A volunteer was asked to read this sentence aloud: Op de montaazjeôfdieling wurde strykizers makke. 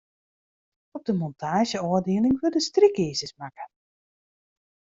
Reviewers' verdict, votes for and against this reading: accepted, 2, 0